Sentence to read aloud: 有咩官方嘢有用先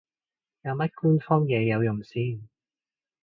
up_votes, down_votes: 1, 2